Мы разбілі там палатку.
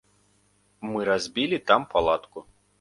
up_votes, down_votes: 2, 0